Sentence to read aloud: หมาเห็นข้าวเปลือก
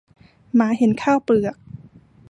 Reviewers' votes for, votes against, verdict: 2, 0, accepted